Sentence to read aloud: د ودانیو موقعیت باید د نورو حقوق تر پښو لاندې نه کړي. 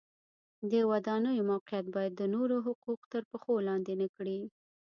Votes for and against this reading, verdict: 1, 2, rejected